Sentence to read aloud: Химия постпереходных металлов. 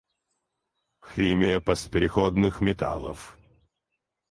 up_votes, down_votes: 2, 2